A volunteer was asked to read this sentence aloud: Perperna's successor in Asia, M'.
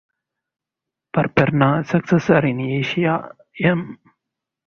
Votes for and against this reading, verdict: 4, 0, accepted